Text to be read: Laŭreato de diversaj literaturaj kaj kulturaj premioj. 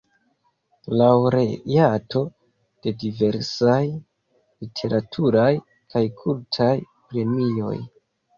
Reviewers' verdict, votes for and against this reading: rejected, 0, 2